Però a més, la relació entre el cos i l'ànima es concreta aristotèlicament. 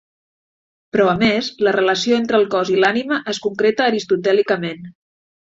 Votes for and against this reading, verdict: 7, 0, accepted